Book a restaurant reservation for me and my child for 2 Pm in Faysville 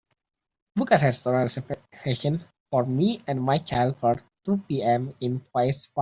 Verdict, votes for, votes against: rejected, 0, 2